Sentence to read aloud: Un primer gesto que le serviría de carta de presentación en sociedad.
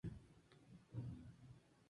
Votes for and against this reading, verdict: 0, 2, rejected